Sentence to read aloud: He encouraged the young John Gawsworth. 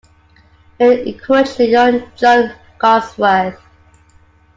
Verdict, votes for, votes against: rejected, 0, 2